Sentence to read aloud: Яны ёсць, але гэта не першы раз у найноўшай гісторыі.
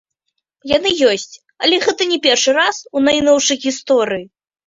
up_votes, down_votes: 1, 2